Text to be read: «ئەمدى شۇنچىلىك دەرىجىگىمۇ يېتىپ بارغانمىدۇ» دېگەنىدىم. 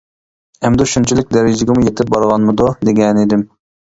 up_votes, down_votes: 2, 0